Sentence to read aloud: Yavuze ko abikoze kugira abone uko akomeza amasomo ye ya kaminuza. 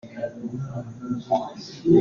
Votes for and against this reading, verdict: 0, 2, rejected